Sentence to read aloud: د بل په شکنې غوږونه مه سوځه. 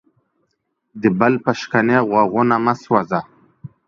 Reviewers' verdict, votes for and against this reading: accepted, 2, 0